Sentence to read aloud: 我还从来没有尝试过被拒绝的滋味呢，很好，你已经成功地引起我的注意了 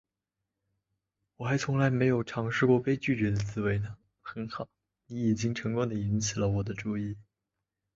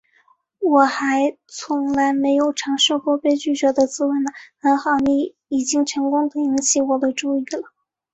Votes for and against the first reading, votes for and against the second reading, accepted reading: 1, 2, 3, 0, second